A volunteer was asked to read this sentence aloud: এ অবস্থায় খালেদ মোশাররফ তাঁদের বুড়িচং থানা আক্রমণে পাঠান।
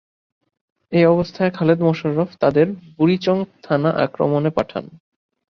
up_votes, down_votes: 2, 0